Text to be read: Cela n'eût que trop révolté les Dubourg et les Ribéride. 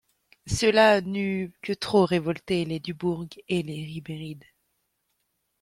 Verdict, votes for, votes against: accepted, 2, 1